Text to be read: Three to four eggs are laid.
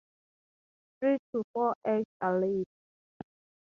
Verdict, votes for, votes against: rejected, 4, 4